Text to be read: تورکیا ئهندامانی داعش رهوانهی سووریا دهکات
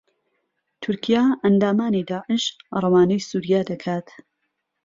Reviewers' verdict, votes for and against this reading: accepted, 2, 0